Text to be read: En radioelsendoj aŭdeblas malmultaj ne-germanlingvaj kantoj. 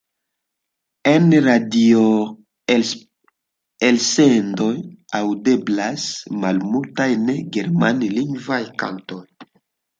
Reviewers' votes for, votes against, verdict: 0, 2, rejected